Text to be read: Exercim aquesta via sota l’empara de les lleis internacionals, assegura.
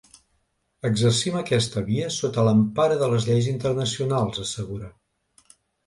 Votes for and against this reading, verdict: 3, 0, accepted